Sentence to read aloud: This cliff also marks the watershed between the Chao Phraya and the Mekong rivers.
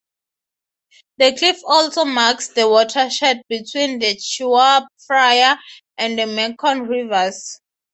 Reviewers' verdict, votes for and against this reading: rejected, 0, 3